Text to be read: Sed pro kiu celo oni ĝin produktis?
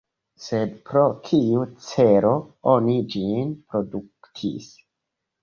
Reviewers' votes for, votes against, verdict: 1, 2, rejected